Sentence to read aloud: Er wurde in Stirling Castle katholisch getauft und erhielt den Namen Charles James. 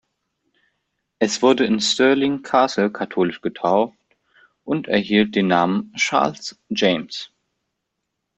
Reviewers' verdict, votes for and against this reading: rejected, 1, 2